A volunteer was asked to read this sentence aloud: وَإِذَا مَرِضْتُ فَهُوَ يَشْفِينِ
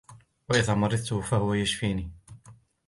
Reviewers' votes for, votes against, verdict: 1, 2, rejected